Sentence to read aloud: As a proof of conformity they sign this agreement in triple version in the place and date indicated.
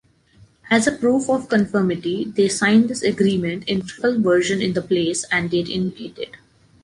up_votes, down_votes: 0, 2